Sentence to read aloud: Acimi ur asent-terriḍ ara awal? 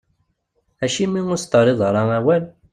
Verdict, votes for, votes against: accepted, 2, 1